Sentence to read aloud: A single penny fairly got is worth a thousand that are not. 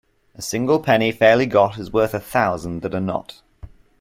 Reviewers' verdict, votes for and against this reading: accepted, 2, 0